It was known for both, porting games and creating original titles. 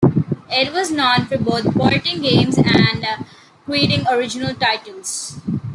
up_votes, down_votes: 1, 2